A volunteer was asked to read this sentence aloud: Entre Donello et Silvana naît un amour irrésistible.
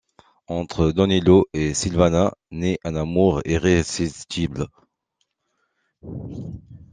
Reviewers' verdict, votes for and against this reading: accepted, 2, 0